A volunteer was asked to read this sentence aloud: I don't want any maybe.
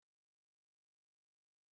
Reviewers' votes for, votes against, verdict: 0, 2, rejected